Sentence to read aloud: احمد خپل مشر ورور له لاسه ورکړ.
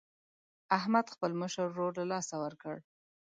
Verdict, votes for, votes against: accepted, 2, 0